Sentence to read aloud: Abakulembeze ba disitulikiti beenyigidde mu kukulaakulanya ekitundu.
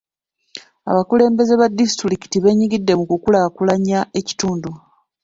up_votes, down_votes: 2, 1